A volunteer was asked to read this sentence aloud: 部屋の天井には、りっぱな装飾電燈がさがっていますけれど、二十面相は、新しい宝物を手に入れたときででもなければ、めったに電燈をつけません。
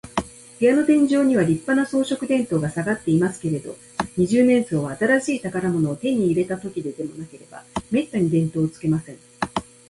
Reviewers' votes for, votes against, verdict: 4, 0, accepted